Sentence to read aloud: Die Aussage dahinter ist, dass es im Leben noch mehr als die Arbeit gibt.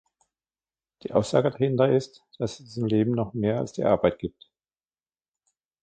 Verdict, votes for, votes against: accepted, 2, 1